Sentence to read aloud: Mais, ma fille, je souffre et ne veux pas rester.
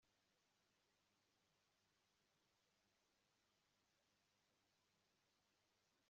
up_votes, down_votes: 0, 2